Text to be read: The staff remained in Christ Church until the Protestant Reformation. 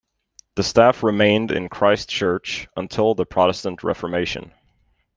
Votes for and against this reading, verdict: 2, 0, accepted